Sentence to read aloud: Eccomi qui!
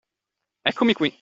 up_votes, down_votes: 2, 0